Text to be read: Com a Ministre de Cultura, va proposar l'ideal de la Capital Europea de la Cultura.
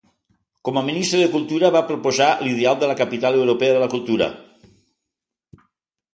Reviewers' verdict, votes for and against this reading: accepted, 2, 0